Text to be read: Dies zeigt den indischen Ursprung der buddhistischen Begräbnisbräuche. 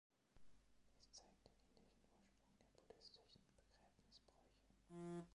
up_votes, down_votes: 0, 2